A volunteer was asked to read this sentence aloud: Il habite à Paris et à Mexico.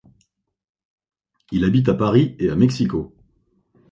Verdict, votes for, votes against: accepted, 2, 0